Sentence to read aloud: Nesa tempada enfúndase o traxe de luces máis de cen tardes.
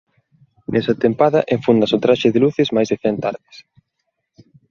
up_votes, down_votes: 2, 0